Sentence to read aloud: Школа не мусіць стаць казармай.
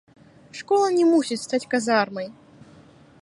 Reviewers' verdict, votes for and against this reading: rejected, 1, 2